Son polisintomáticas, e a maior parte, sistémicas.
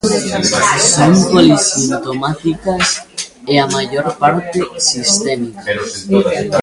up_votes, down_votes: 0, 2